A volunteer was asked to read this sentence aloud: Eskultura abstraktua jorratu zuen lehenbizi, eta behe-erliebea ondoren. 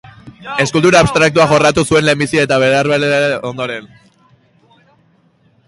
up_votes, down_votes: 1, 2